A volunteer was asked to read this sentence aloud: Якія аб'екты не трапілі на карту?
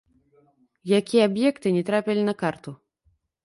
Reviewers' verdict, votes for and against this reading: rejected, 1, 2